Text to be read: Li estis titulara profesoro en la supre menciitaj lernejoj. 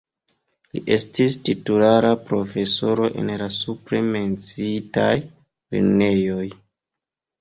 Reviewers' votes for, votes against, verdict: 2, 0, accepted